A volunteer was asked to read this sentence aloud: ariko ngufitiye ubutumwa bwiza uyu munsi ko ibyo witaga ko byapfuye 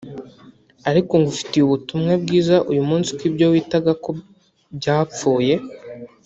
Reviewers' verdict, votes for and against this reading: accepted, 2, 1